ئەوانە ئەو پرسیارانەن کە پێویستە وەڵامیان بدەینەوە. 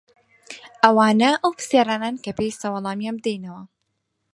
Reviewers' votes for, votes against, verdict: 4, 0, accepted